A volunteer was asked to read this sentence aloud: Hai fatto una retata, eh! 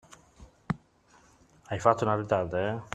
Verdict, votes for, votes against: rejected, 0, 2